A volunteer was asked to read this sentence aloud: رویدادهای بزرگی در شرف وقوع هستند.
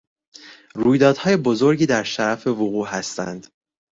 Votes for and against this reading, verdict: 1, 2, rejected